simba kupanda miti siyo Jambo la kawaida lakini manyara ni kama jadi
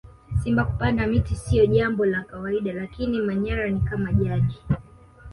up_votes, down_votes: 2, 0